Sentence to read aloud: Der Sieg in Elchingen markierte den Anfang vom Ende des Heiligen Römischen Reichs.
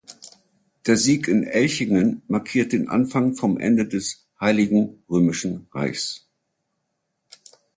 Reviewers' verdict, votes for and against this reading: rejected, 0, 2